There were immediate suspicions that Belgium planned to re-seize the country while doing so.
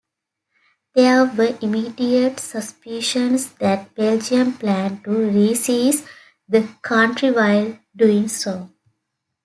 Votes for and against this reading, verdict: 2, 0, accepted